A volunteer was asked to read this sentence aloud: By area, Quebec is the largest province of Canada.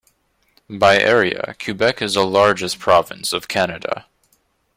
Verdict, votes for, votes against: accepted, 2, 0